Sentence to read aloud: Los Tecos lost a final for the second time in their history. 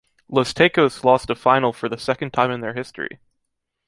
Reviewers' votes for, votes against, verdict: 2, 0, accepted